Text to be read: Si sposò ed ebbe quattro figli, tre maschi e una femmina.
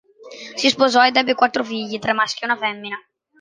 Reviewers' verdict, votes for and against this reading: accepted, 2, 0